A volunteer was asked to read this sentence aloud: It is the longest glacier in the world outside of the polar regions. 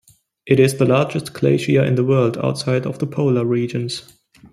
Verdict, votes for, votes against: rejected, 1, 2